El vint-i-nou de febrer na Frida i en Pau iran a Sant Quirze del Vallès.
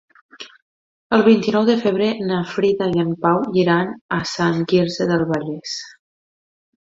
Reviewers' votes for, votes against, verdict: 3, 0, accepted